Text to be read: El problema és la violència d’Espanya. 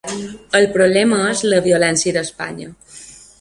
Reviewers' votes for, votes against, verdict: 3, 0, accepted